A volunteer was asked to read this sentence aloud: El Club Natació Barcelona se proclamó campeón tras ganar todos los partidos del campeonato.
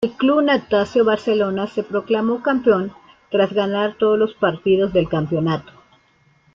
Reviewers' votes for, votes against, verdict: 2, 0, accepted